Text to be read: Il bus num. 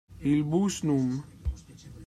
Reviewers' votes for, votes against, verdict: 1, 2, rejected